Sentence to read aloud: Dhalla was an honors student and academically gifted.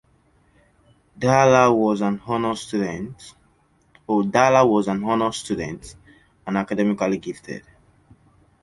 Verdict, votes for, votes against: rejected, 0, 2